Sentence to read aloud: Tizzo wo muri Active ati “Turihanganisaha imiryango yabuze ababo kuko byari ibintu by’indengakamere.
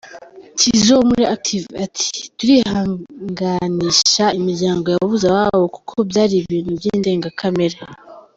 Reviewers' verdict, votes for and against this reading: accepted, 4, 0